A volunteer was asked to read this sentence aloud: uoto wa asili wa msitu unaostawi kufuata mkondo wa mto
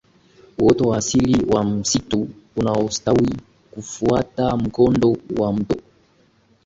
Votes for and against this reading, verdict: 2, 0, accepted